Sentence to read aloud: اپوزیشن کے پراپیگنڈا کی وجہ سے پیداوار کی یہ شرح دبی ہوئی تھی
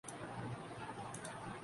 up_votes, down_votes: 1, 2